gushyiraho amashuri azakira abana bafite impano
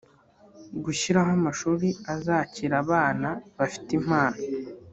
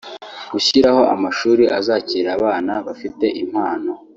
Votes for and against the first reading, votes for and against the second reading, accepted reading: 0, 2, 3, 0, second